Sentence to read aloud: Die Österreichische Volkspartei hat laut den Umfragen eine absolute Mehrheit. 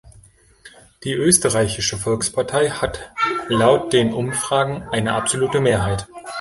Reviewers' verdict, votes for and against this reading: rejected, 0, 2